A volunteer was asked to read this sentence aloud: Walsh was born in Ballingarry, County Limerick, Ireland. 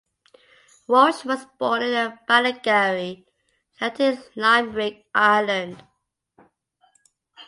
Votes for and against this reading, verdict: 0, 2, rejected